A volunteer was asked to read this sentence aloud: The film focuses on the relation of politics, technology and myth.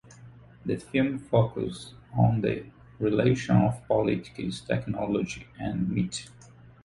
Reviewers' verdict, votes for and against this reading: rejected, 1, 2